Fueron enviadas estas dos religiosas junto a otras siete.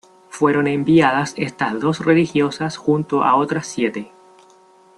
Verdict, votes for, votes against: accepted, 2, 0